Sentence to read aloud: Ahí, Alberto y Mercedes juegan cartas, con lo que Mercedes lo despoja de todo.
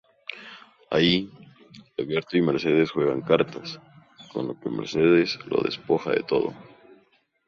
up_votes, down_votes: 2, 2